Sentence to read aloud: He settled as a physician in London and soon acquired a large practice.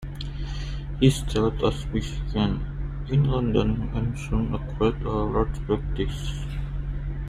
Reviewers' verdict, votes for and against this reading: rejected, 0, 2